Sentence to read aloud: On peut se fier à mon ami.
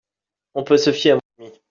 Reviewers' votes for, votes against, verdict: 0, 2, rejected